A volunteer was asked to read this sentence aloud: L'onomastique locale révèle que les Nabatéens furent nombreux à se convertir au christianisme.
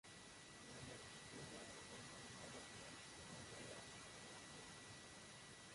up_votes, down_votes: 0, 2